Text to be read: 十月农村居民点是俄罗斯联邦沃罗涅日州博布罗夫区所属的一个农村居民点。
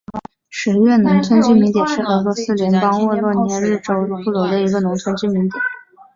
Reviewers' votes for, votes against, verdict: 2, 1, accepted